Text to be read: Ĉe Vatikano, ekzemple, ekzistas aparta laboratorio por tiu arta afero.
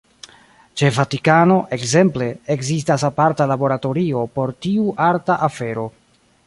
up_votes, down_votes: 1, 2